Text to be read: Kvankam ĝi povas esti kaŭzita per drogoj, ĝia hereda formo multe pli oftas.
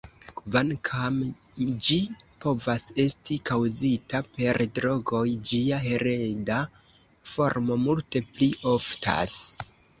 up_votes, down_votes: 2, 0